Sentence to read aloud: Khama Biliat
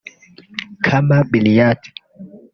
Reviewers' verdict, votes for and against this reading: rejected, 1, 2